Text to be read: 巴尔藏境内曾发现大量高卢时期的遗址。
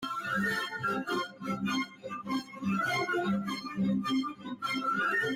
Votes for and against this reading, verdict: 0, 2, rejected